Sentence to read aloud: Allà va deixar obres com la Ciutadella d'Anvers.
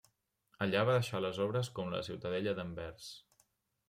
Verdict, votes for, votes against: rejected, 1, 2